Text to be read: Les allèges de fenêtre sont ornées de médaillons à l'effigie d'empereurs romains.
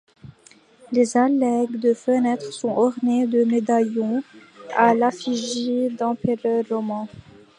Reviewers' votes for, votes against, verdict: 0, 2, rejected